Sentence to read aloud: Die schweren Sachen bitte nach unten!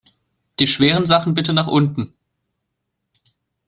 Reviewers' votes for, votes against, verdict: 2, 0, accepted